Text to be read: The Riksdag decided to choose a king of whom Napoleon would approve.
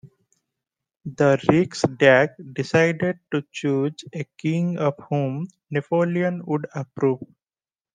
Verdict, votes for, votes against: accepted, 2, 0